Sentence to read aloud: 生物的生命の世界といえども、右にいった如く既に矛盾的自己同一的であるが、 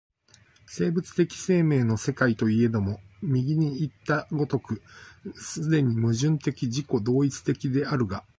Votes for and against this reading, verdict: 2, 0, accepted